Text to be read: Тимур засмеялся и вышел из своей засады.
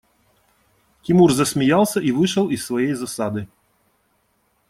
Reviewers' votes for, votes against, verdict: 2, 0, accepted